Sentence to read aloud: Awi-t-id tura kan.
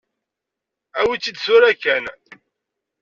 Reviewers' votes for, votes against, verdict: 2, 1, accepted